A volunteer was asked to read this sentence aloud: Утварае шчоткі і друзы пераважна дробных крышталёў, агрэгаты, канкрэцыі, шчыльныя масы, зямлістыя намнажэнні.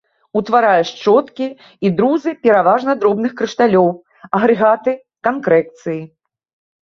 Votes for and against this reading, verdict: 0, 2, rejected